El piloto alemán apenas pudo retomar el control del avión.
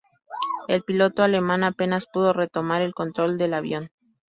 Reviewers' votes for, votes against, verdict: 0, 2, rejected